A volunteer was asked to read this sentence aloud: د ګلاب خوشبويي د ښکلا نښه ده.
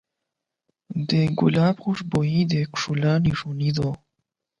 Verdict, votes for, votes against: rejected, 0, 8